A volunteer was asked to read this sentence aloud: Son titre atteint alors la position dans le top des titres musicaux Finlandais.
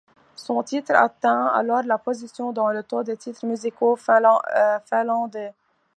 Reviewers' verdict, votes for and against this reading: rejected, 1, 2